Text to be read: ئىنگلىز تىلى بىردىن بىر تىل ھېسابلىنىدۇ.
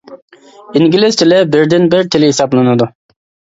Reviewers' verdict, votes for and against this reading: accepted, 2, 0